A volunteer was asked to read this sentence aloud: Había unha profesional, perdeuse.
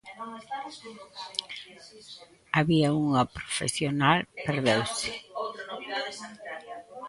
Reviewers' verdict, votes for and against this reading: rejected, 1, 2